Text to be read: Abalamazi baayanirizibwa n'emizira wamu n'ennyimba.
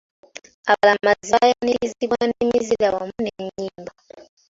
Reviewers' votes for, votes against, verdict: 4, 3, accepted